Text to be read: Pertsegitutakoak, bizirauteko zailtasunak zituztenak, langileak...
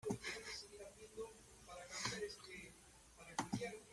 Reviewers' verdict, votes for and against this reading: rejected, 0, 2